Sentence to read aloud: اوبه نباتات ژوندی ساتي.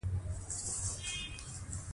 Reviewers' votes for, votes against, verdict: 2, 0, accepted